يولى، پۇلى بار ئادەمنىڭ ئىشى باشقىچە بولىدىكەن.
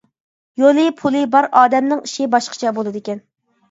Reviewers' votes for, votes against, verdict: 2, 0, accepted